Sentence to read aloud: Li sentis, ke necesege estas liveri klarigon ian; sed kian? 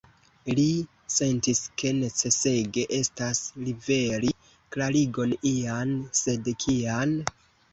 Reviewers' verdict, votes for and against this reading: accepted, 2, 1